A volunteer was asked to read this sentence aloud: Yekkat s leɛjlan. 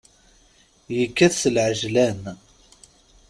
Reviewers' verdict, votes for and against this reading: accepted, 2, 0